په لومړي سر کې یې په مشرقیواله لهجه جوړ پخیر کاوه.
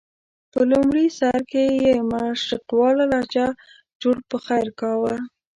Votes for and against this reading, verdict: 1, 2, rejected